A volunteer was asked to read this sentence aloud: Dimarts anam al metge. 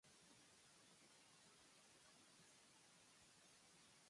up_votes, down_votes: 0, 3